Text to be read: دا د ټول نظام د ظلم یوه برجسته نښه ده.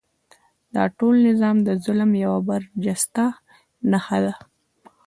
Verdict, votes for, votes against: accepted, 2, 0